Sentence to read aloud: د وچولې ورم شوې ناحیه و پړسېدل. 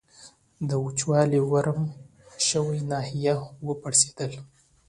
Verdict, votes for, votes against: accepted, 2, 0